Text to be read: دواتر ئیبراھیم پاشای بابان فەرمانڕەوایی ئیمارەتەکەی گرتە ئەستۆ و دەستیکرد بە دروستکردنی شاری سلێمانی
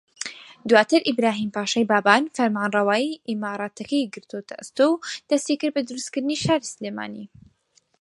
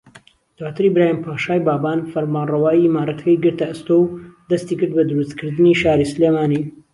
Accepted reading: second